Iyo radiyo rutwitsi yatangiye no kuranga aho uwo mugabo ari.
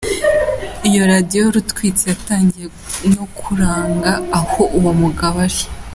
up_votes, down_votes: 2, 1